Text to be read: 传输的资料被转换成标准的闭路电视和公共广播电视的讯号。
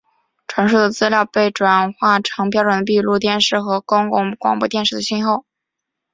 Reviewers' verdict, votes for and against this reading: accepted, 2, 1